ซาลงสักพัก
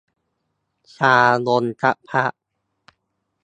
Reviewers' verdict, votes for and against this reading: rejected, 1, 2